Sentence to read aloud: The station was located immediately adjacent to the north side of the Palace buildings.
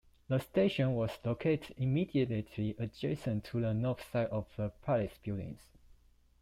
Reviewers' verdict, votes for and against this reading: accepted, 2, 0